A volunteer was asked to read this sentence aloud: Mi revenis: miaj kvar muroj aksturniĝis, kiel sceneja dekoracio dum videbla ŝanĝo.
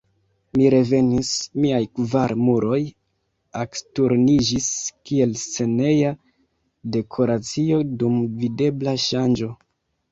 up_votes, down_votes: 0, 2